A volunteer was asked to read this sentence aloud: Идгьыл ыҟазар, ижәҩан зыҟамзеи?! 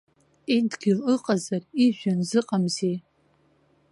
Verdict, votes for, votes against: accepted, 2, 0